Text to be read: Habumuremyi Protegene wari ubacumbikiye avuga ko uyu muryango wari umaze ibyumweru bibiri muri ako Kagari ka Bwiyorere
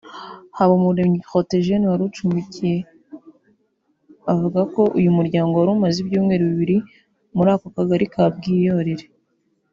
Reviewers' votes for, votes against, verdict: 0, 2, rejected